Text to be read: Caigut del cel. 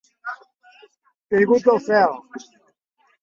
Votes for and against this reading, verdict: 3, 2, accepted